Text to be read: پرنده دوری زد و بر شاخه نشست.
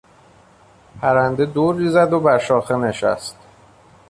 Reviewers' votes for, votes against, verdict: 2, 0, accepted